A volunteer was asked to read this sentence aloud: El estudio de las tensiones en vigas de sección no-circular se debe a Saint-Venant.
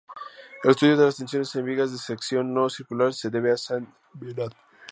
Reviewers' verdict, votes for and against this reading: rejected, 0, 2